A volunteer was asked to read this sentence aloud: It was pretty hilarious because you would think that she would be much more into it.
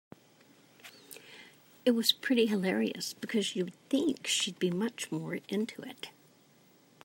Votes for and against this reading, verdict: 2, 0, accepted